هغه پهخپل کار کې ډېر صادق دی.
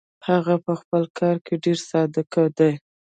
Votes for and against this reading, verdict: 0, 2, rejected